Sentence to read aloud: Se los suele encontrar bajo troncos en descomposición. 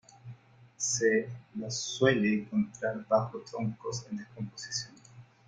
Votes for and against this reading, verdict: 0, 2, rejected